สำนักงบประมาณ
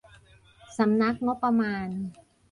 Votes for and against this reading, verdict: 1, 2, rejected